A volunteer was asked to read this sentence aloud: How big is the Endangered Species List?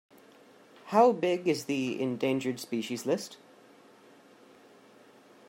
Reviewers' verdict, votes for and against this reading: accepted, 2, 1